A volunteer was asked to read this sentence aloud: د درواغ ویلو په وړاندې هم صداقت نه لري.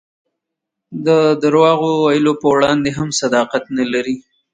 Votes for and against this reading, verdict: 3, 0, accepted